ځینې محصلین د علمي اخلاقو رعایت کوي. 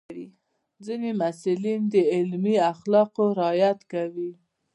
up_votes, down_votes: 2, 1